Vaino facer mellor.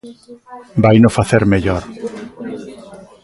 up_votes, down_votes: 3, 0